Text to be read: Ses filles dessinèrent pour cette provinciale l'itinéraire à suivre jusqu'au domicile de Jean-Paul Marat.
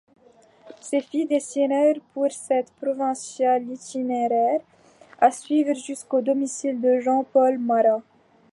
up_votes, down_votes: 2, 0